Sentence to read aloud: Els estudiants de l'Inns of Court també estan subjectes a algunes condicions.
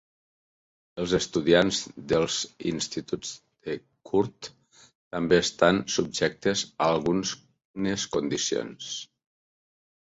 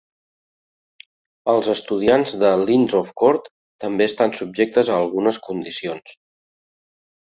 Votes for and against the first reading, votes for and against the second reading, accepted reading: 1, 2, 2, 0, second